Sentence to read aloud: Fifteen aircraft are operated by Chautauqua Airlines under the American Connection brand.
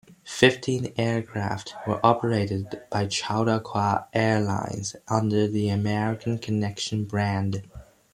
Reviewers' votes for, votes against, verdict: 1, 2, rejected